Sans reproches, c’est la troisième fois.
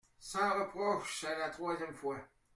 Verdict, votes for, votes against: accepted, 2, 0